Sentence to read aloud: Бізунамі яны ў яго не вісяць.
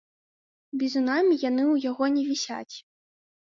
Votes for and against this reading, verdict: 2, 0, accepted